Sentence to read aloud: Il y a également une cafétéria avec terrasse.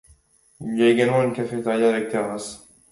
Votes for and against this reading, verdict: 2, 0, accepted